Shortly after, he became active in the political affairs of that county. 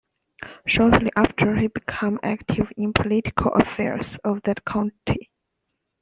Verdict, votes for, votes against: rejected, 0, 2